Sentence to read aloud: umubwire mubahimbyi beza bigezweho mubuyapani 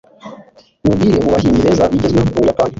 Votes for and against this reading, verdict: 1, 2, rejected